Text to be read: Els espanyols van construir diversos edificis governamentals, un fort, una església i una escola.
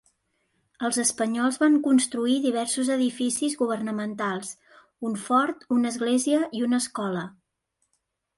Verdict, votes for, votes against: rejected, 1, 2